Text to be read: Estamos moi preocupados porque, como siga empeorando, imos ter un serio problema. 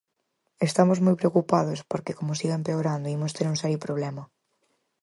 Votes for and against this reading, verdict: 4, 0, accepted